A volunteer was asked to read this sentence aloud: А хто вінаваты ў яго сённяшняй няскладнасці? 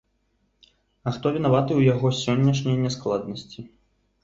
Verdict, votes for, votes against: accepted, 2, 0